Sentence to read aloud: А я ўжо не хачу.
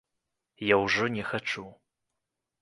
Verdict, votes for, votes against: rejected, 0, 3